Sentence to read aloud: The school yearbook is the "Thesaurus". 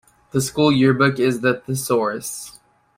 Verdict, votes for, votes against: accepted, 2, 0